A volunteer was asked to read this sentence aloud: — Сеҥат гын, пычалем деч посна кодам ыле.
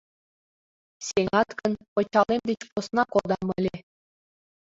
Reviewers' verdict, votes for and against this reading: accepted, 2, 0